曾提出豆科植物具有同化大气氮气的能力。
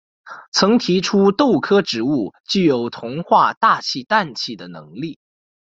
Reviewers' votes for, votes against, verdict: 2, 0, accepted